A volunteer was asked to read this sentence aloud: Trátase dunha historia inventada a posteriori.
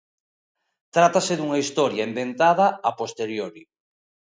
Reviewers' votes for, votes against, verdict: 2, 0, accepted